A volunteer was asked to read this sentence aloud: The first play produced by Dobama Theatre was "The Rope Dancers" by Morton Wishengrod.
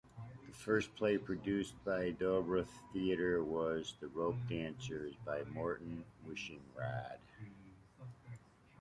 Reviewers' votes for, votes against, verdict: 1, 2, rejected